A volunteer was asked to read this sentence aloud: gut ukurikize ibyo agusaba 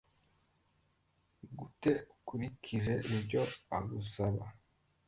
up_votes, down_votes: 2, 1